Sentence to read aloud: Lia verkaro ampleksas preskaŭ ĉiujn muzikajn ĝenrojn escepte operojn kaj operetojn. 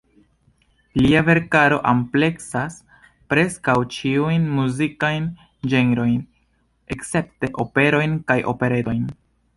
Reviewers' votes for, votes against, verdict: 2, 0, accepted